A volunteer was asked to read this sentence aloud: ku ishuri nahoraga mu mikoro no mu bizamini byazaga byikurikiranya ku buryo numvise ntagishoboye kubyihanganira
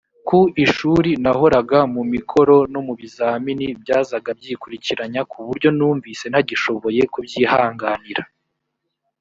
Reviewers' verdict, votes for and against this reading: accepted, 3, 0